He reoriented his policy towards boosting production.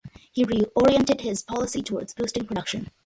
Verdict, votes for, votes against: accepted, 2, 0